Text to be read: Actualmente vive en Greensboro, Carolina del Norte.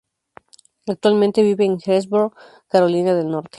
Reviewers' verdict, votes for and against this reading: accepted, 2, 0